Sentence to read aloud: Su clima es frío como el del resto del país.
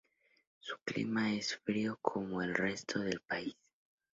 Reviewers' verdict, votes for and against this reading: rejected, 0, 2